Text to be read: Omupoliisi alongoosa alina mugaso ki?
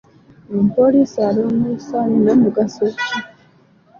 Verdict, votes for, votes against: accepted, 2, 0